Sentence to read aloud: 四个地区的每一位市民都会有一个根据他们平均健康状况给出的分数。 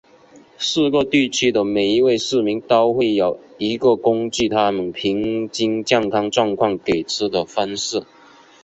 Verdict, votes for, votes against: accepted, 6, 2